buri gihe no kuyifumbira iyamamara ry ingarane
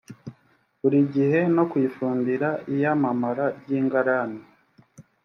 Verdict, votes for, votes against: accepted, 2, 0